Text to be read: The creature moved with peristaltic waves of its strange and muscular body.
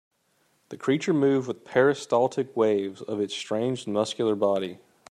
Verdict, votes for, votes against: rejected, 1, 2